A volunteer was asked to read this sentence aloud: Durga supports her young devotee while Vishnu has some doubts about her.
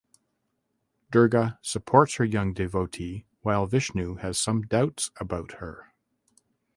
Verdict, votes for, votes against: accepted, 2, 0